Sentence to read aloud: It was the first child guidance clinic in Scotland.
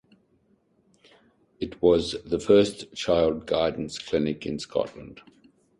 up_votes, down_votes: 2, 0